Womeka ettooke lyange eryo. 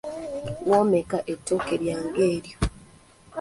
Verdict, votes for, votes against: accepted, 2, 0